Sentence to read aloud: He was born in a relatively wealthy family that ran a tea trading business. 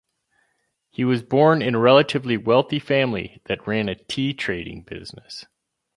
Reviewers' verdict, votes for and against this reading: accepted, 2, 0